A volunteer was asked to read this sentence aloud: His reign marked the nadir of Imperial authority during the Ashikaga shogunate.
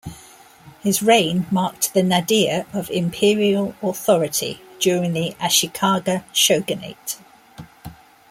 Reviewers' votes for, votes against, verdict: 2, 0, accepted